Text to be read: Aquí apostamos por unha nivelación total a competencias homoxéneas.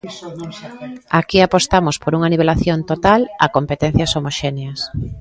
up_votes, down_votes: 1, 2